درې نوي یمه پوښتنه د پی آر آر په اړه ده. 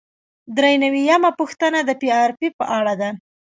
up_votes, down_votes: 2, 0